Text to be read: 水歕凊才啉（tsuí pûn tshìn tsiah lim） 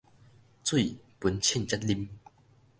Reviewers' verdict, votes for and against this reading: rejected, 1, 2